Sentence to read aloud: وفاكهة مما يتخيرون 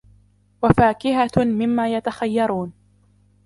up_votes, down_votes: 1, 2